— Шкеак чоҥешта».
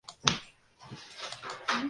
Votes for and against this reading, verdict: 0, 2, rejected